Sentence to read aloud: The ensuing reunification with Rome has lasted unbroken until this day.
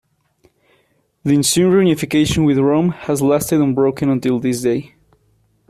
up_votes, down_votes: 2, 0